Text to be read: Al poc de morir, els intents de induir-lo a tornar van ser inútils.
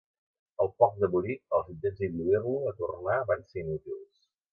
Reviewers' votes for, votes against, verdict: 0, 2, rejected